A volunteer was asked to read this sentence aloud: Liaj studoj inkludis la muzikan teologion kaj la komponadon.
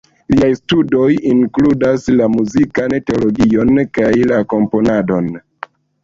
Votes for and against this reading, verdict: 0, 2, rejected